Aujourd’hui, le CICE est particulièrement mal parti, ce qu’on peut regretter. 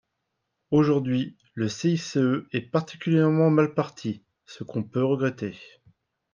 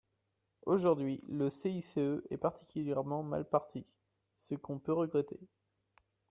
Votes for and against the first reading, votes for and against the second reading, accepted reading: 2, 0, 1, 2, first